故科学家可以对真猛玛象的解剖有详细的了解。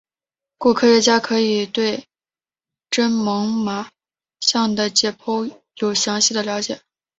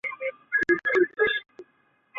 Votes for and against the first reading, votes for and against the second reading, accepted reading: 3, 0, 0, 3, first